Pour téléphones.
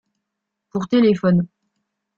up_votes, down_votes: 2, 0